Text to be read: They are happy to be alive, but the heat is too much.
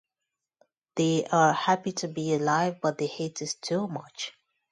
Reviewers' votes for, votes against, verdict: 2, 0, accepted